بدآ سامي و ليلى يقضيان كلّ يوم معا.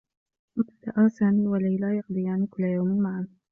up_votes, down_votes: 1, 2